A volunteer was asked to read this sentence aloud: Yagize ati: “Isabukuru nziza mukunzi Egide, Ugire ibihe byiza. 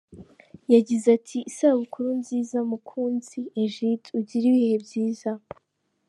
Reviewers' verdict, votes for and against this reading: accepted, 3, 0